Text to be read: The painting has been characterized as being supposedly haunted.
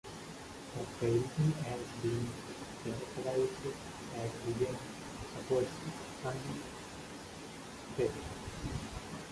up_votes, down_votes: 0, 2